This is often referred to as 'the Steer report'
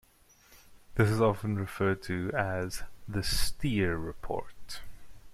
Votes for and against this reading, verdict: 2, 0, accepted